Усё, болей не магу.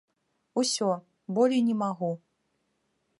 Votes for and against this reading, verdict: 2, 0, accepted